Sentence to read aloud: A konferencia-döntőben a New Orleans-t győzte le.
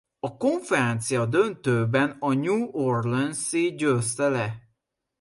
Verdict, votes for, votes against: rejected, 0, 2